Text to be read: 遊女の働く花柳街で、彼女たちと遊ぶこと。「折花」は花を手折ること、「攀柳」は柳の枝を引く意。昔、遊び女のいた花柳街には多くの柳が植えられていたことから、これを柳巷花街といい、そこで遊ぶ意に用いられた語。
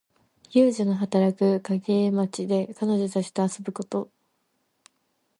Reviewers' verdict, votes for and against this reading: rejected, 0, 2